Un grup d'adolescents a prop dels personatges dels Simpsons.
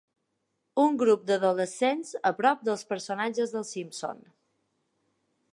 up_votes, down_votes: 2, 0